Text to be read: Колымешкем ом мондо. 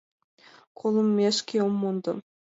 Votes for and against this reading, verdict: 2, 1, accepted